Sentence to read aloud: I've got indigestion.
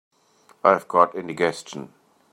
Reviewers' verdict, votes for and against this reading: rejected, 0, 2